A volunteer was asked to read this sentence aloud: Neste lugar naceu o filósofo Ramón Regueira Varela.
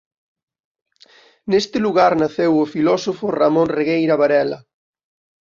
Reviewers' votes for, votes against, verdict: 2, 0, accepted